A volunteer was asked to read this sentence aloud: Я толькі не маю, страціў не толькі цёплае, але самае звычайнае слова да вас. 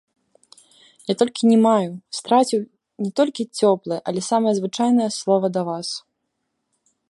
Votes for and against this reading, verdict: 2, 0, accepted